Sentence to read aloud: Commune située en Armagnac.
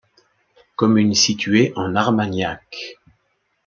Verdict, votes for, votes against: accepted, 2, 0